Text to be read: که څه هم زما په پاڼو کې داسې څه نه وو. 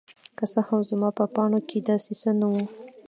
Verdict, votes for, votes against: rejected, 1, 2